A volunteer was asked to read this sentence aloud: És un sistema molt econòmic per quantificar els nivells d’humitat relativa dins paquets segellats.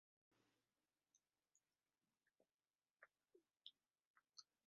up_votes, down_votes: 0, 2